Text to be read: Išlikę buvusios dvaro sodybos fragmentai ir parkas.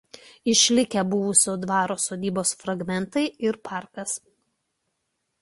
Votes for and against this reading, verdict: 0, 2, rejected